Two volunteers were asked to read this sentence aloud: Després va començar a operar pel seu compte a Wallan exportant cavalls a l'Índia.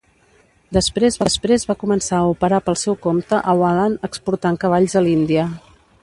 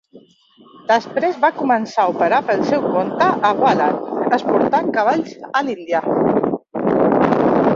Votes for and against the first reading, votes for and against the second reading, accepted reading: 1, 2, 2, 0, second